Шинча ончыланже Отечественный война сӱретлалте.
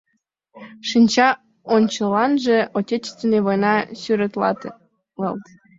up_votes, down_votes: 0, 2